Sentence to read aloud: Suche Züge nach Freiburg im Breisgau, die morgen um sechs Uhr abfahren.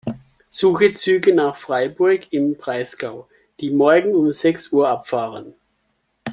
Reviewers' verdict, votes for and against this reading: accepted, 2, 0